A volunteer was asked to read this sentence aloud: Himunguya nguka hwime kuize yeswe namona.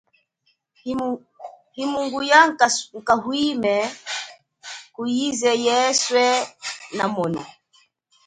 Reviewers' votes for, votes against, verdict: 0, 2, rejected